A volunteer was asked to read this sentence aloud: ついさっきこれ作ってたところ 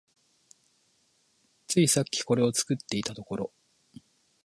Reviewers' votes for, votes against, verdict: 0, 2, rejected